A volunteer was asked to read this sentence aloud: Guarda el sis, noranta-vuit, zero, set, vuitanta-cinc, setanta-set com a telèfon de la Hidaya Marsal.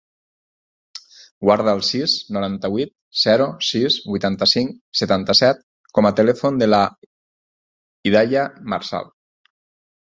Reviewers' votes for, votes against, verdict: 0, 4, rejected